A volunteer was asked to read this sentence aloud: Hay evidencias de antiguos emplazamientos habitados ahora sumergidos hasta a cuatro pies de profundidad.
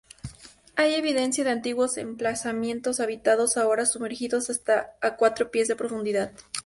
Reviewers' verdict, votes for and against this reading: accepted, 2, 0